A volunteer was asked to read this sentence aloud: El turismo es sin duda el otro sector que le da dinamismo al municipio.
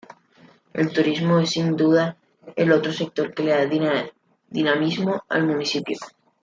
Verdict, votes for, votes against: rejected, 1, 2